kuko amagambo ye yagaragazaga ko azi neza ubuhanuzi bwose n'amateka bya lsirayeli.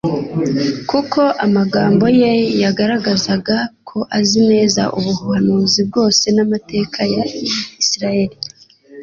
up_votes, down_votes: 2, 0